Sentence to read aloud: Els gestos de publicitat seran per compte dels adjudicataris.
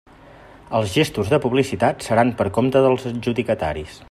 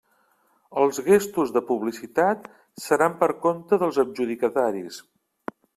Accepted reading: first